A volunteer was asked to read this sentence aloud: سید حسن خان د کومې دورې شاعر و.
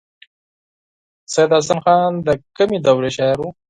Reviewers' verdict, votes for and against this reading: accepted, 4, 0